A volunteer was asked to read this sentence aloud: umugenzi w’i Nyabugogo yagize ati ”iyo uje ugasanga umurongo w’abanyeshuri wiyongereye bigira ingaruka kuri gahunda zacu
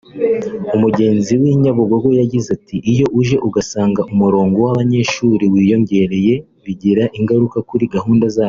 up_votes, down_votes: 3, 4